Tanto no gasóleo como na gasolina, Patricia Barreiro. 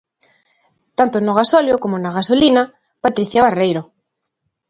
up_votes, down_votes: 2, 1